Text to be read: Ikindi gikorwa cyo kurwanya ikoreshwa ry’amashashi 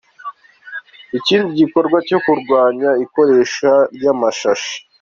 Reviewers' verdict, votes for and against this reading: rejected, 0, 2